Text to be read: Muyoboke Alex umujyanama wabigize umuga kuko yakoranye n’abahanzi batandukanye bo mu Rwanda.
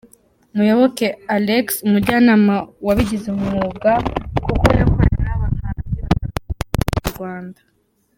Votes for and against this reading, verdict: 0, 2, rejected